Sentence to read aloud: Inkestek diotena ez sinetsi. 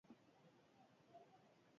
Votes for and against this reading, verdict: 0, 4, rejected